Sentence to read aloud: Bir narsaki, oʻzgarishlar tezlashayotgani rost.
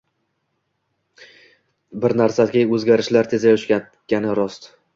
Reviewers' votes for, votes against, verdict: 0, 2, rejected